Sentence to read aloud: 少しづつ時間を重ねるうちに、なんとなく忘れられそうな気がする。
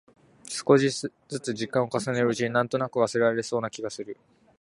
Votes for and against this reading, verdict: 2, 0, accepted